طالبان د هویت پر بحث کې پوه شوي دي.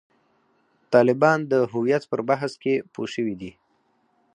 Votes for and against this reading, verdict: 4, 0, accepted